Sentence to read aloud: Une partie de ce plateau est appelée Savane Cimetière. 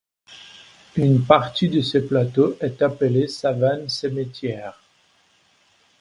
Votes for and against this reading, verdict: 2, 0, accepted